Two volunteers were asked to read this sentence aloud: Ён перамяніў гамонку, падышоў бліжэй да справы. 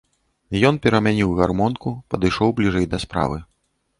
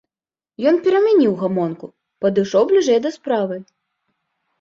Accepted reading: second